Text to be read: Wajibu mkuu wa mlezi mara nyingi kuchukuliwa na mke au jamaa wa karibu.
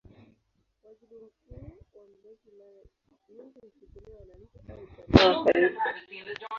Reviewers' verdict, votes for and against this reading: rejected, 0, 2